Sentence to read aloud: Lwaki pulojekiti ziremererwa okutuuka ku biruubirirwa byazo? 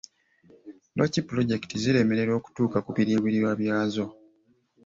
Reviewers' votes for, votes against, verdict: 2, 1, accepted